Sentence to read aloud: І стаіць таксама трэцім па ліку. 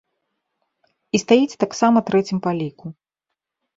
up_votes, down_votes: 2, 0